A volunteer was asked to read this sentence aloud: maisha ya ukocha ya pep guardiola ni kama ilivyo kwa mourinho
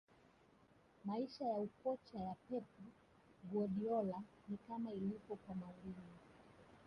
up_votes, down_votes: 5, 1